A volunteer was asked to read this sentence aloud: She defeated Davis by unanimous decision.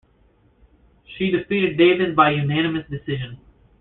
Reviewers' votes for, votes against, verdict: 2, 0, accepted